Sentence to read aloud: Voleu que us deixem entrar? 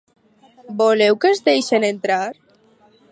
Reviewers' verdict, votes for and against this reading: rejected, 2, 2